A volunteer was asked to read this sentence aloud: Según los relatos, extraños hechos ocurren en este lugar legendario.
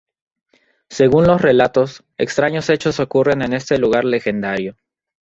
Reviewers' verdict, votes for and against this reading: rejected, 0, 2